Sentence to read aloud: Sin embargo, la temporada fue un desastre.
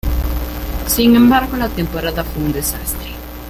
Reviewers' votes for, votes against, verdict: 1, 2, rejected